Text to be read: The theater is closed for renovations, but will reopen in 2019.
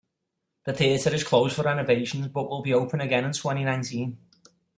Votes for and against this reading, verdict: 0, 2, rejected